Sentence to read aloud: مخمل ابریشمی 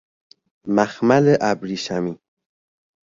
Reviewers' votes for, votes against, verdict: 2, 0, accepted